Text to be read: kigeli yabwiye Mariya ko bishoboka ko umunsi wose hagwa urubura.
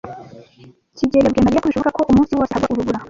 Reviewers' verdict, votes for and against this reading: rejected, 0, 2